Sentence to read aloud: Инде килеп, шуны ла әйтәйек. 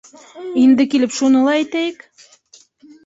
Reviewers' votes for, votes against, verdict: 0, 2, rejected